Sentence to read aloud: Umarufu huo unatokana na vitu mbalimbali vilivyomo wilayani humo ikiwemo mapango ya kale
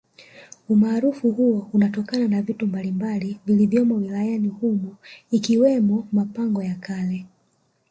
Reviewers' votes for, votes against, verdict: 1, 2, rejected